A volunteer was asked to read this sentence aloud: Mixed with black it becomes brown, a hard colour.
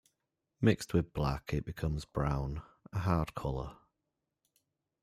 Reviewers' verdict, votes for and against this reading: accepted, 2, 1